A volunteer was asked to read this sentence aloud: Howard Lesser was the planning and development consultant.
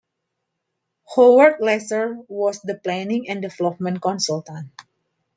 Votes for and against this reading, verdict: 2, 1, accepted